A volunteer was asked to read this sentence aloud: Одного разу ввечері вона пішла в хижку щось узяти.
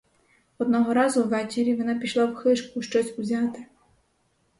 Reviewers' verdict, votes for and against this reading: accepted, 4, 2